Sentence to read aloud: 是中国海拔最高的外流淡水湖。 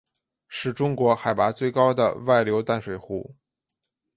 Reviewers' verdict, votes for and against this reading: accepted, 3, 0